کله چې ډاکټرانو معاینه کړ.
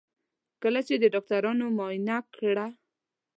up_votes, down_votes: 0, 2